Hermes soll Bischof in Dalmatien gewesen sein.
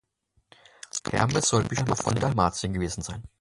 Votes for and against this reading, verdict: 0, 2, rejected